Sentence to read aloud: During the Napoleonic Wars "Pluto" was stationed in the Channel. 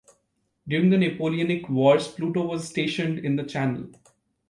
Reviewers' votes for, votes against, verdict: 1, 2, rejected